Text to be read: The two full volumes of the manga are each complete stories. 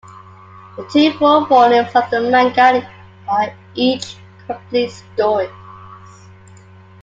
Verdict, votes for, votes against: rejected, 1, 2